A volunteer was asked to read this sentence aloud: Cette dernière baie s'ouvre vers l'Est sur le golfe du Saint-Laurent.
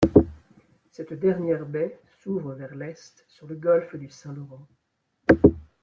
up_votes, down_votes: 2, 0